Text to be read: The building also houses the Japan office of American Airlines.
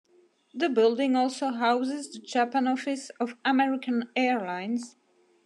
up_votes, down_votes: 2, 1